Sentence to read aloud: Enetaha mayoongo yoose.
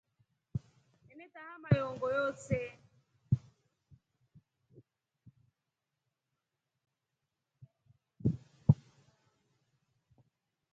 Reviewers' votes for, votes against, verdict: 1, 2, rejected